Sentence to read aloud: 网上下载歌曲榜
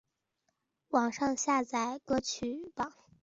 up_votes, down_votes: 2, 0